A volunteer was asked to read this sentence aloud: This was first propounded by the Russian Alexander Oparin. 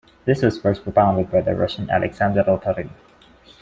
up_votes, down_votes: 2, 0